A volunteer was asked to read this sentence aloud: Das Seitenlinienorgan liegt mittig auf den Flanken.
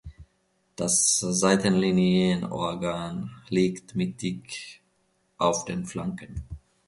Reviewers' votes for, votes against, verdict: 1, 2, rejected